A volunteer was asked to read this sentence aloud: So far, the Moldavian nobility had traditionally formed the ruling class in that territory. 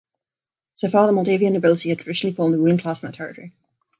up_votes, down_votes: 0, 2